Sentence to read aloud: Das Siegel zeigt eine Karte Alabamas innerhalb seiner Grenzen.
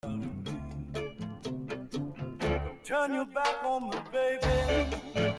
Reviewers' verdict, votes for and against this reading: rejected, 0, 2